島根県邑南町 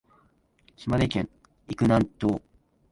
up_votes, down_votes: 1, 2